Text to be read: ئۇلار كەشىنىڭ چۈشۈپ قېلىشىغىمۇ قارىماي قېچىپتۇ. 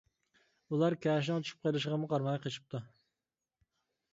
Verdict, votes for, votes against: accepted, 2, 1